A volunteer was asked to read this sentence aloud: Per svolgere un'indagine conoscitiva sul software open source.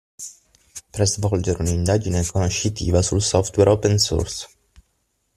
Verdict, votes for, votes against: rejected, 3, 6